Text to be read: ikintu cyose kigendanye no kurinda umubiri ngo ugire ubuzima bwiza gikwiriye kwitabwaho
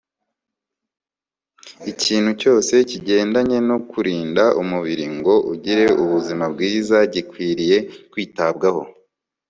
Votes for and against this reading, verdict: 2, 0, accepted